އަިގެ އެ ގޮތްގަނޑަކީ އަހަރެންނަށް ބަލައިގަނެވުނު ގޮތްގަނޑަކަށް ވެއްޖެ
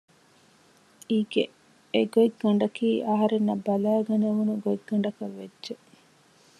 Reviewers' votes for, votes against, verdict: 2, 0, accepted